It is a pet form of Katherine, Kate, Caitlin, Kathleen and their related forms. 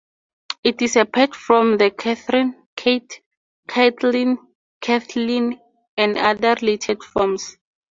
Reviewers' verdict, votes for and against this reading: rejected, 0, 2